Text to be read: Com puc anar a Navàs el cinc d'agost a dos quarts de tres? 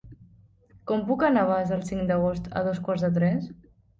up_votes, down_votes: 0, 2